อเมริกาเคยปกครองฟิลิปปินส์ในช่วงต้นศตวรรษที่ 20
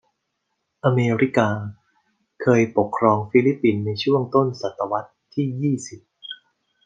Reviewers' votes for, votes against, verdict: 0, 2, rejected